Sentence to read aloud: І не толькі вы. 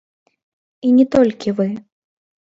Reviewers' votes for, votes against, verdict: 1, 2, rejected